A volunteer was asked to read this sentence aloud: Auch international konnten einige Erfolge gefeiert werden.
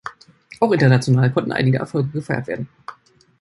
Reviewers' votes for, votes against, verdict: 2, 0, accepted